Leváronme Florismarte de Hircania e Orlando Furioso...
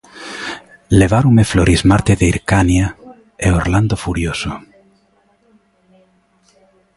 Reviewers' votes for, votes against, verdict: 2, 0, accepted